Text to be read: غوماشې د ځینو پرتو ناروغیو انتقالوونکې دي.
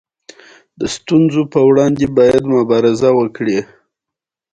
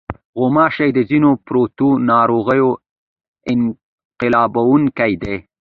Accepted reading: first